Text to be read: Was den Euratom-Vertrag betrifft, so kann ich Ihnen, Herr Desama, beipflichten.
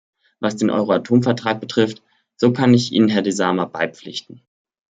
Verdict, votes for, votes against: rejected, 1, 2